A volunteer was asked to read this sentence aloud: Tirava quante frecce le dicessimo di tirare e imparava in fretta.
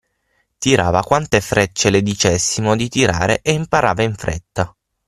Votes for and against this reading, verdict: 6, 0, accepted